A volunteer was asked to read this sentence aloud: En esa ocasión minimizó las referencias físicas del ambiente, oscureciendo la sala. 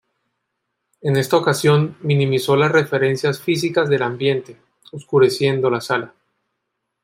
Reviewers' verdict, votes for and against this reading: rejected, 0, 2